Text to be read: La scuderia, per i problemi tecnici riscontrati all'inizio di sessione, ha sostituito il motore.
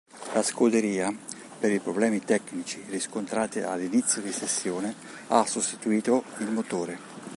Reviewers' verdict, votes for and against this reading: accepted, 2, 0